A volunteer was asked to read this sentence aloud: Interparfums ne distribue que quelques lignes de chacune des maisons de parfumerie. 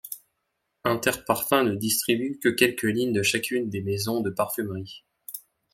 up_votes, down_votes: 2, 0